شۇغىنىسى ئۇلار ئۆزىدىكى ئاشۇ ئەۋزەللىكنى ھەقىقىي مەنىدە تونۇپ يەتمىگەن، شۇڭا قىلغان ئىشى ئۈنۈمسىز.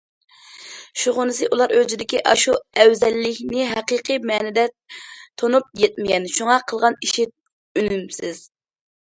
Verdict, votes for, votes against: accepted, 2, 0